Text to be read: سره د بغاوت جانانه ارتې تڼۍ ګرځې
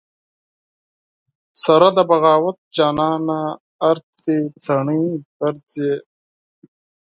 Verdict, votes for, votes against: accepted, 4, 2